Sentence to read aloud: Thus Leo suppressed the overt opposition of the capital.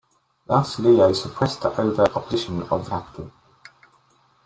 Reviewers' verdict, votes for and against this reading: rejected, 1, 2